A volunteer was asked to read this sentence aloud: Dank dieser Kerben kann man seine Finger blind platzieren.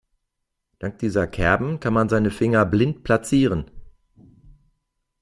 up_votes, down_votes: 2, 0